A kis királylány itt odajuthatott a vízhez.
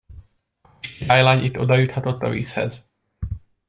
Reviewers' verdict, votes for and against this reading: rejected, 0, 2